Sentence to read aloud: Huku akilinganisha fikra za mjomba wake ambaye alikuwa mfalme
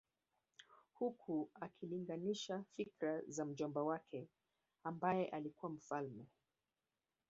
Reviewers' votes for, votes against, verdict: 3, 1, accepted